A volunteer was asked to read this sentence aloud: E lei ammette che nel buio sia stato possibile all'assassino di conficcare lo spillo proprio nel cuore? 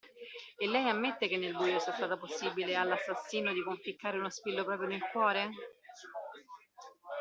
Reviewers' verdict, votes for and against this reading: accepted, 2, 0